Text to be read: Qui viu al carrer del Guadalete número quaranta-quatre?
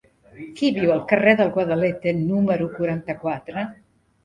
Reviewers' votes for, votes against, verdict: 3, 1, accepted